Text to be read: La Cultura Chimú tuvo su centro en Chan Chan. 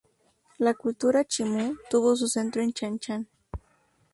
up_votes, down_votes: 2, 0